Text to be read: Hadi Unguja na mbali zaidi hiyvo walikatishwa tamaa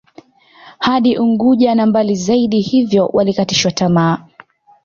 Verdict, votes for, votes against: accepted, 2, 0